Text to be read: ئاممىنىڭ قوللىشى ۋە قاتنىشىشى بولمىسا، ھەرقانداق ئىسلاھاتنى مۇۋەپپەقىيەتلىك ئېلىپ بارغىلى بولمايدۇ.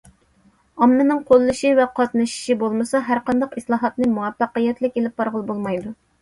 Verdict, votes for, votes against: accepted, 2, 0